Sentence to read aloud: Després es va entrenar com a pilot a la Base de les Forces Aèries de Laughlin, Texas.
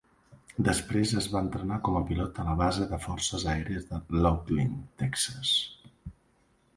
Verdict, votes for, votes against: accepted, 2, 0